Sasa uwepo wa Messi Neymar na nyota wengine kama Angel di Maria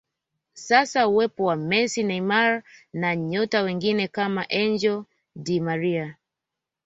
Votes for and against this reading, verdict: 2, 0, accepted